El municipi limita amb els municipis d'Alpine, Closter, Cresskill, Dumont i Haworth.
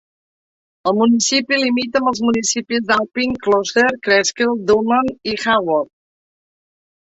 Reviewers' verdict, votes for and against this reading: accepted, 2, 0